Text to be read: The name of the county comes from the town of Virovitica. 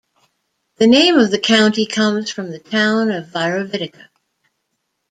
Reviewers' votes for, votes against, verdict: 2, 0, accepted